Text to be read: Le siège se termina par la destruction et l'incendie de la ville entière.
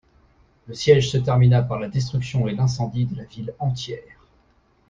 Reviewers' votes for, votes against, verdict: 1, 2, rejected